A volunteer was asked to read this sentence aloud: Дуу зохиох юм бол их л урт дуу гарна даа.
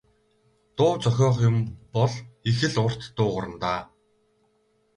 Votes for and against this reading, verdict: 2, 2, rejected